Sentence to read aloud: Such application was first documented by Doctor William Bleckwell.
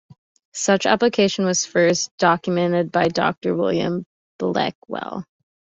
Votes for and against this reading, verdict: 2, 0, accepted